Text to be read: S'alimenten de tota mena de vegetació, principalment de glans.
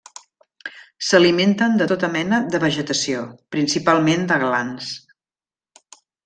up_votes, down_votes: 3, 0